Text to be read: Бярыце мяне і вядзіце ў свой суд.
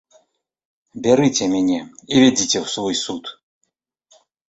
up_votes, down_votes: 2, 0